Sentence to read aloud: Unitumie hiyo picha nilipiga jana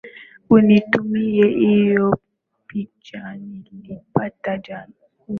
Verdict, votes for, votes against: accepted, 13, 3